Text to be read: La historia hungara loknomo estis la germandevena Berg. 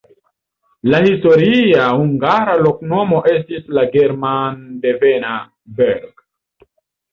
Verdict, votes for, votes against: accepted, 2, 0